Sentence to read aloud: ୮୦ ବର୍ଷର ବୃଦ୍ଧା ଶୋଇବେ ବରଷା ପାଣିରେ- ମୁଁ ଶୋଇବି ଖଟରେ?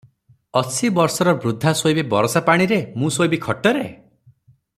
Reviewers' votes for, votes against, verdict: 0, 2, rejected